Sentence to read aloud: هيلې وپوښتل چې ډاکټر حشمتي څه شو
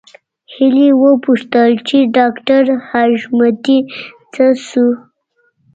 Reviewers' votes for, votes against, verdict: 2, 0, accepted